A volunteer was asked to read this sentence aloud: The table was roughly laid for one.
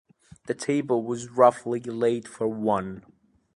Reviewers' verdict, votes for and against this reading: accepted, 2, 0